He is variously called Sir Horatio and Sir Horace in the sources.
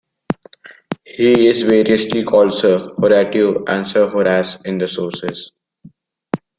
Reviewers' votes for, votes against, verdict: 2, 0, accepted